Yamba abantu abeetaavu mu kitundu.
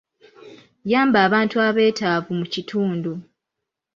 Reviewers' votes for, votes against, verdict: 2, 0, accepted